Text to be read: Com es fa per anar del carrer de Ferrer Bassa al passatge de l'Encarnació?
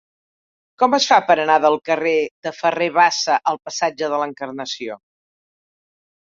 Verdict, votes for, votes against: accepted, 4, 0